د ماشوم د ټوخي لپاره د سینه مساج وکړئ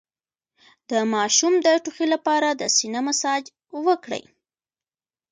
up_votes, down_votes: 1, 2